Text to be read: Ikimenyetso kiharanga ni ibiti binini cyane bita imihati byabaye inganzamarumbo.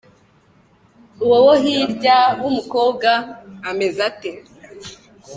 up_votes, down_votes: 1, 2